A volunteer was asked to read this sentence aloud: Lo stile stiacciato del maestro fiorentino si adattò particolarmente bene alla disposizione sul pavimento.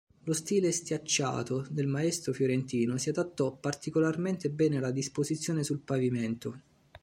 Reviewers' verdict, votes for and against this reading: accepted, 2, 0